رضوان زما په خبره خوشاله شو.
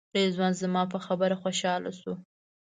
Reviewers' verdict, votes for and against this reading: accepted, 2, 0